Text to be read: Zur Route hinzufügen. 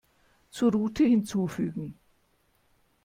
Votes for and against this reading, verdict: 2, 0, accepted